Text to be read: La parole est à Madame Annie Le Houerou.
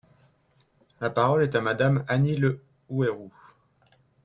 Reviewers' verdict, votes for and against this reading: rejected, 1, 2